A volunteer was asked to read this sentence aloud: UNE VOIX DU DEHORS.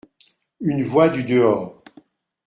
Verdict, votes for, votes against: accepted, 2, 0